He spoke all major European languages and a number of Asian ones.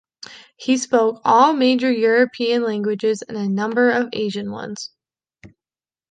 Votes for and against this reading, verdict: 2, 0, accepted